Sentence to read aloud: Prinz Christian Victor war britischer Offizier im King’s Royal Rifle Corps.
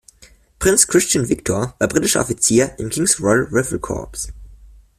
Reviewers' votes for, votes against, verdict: 1, 2, rejected